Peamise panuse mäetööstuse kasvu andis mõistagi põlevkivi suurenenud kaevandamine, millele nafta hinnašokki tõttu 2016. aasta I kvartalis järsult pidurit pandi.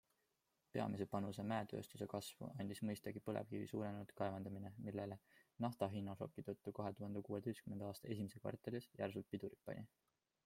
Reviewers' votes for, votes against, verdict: 0, 2, rejected